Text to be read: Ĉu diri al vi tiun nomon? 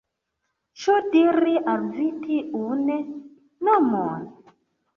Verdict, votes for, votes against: accepted, 2, 1